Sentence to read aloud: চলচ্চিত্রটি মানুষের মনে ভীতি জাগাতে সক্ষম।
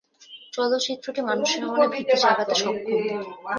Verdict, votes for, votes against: rejected, 0, 2